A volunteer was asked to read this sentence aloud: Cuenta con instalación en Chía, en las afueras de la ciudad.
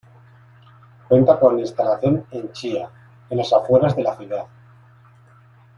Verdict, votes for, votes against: rejected, 1, 2